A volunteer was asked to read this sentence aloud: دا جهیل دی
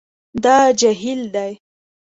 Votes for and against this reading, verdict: 2, 0, accepted